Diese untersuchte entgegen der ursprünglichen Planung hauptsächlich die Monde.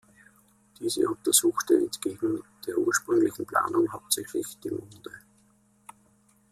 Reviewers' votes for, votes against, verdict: 2, 0, accepted